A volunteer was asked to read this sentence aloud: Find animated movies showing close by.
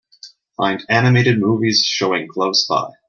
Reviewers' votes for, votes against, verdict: 2, 0, accepted